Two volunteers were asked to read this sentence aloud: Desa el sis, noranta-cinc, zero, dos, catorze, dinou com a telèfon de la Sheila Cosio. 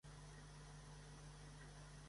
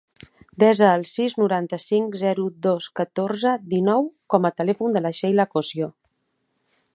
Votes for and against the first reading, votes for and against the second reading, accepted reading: 0, 2, 3, 0, second